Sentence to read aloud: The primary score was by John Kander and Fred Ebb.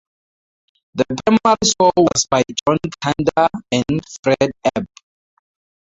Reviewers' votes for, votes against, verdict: 0, 2, rejected